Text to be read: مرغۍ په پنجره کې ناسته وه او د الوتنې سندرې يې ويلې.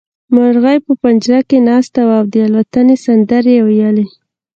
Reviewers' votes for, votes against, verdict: 2, 0, accepted